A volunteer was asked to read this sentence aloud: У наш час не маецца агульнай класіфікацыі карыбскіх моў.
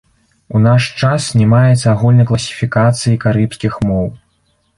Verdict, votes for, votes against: accepted, 2, 0